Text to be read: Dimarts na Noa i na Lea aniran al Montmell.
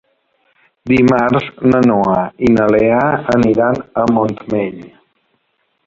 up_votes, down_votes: 0, 2